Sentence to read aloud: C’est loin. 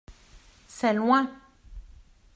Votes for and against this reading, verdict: 2, 0, accepted